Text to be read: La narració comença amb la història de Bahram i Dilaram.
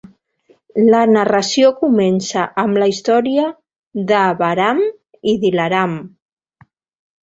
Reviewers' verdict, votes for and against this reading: accepted, 2, 0